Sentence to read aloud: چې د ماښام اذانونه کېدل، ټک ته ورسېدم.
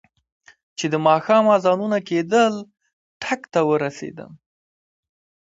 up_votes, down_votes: 2, 1